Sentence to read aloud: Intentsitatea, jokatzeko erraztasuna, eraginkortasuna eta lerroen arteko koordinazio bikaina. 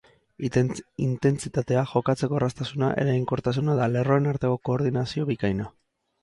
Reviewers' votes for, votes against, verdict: 0, 2, rejected